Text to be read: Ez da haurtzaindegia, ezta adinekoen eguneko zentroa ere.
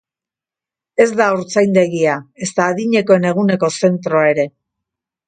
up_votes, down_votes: 2, 0